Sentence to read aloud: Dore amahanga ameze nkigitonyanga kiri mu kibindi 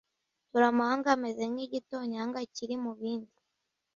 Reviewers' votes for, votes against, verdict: 0, 2, rejected